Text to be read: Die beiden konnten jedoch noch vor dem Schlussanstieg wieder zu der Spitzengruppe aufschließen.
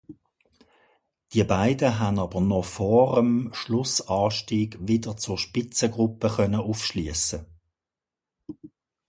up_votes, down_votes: 0, 2